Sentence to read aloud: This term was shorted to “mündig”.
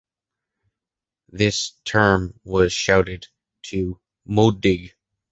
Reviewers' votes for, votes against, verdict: 1, 2, rejected